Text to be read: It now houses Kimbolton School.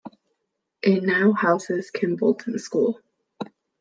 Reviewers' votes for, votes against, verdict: 2, 0, accepted